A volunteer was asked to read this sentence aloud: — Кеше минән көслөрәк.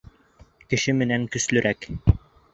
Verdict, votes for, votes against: rejected, 1, 3